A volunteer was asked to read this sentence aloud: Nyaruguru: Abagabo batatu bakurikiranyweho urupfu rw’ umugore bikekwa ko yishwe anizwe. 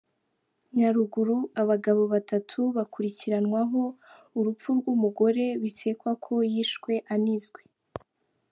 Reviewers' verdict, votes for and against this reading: accepted, 2, 1